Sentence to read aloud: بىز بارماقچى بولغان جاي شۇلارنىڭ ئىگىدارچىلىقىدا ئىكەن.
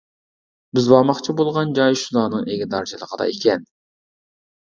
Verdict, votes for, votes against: rejected, 0, 2